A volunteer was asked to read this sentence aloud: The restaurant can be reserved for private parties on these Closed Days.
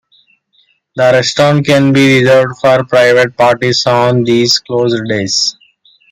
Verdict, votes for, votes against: accepted, 2, 1